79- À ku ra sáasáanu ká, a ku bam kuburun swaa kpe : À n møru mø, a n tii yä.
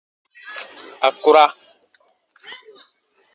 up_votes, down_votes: 0, 2